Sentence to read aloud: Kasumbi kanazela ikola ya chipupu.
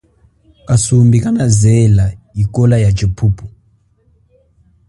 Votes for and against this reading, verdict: 2, 0, accepted